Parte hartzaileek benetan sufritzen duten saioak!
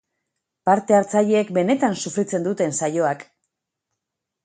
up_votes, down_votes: 8, 0